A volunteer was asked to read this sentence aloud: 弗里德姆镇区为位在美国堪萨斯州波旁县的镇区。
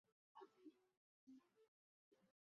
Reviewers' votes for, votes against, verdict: 0, 4, rejected